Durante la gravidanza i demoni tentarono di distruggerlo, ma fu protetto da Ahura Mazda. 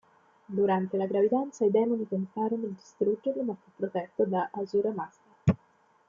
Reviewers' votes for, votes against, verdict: 1, 2, rejected